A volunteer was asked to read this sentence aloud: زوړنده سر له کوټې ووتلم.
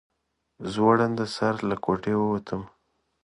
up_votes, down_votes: 2, 0